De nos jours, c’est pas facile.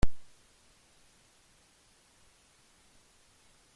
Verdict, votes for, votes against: rejected, 0, 2